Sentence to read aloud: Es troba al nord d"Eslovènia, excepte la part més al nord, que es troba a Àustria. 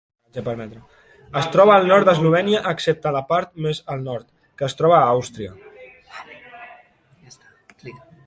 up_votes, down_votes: 0, 2